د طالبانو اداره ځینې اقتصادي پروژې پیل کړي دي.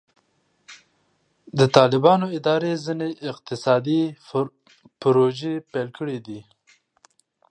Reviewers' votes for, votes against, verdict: 2, 1, accepted